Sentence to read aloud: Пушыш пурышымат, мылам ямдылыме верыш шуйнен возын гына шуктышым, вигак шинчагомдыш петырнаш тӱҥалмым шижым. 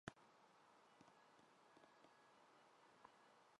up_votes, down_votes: 0, 2